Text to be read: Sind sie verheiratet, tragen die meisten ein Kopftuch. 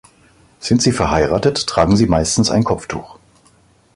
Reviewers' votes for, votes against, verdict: 1, 2, rejected